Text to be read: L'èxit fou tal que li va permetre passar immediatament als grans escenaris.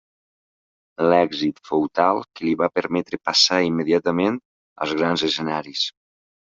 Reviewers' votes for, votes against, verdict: 1, 2, rejected